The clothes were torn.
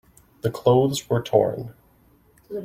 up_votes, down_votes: 2, 1